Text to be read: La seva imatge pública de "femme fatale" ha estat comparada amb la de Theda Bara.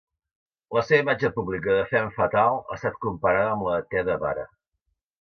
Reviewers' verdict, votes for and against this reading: rejected, 1, 2